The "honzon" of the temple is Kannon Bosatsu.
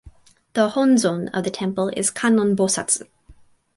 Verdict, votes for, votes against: rejected, 2, 2